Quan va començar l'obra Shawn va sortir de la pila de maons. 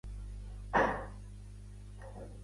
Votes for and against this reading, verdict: 0, 2, rejected